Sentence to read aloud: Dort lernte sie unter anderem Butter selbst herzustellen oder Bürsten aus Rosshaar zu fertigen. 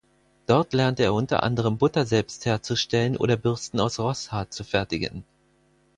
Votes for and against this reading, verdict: 2, 4, rejected